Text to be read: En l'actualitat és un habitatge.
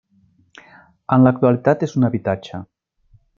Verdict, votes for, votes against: accepted, 3, 0